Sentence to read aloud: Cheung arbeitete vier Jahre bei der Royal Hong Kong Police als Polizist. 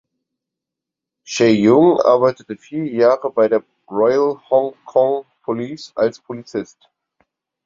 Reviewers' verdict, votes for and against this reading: accepted, 4, 0